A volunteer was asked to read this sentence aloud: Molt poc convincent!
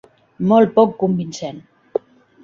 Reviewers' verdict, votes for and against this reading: accepted, 3, 0